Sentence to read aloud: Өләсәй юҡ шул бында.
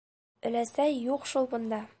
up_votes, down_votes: 2, 1